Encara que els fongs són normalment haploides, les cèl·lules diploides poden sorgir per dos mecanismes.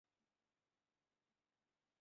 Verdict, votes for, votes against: rejected, 0, 2